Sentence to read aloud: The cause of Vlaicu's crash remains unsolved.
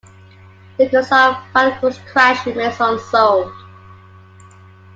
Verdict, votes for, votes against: rejected, 0, 2